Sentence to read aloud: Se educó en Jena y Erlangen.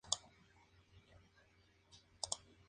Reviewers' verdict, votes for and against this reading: rejected, 0, 2